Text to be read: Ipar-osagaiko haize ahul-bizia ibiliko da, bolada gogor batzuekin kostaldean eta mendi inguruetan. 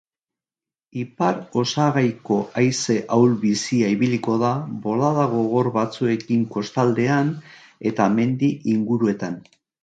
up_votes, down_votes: 3, 0